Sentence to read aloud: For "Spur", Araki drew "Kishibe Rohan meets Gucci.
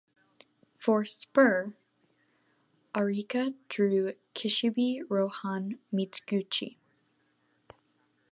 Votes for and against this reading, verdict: 0, 2, rejected